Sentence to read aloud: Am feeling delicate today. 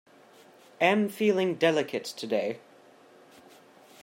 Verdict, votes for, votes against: accepted, 2, 0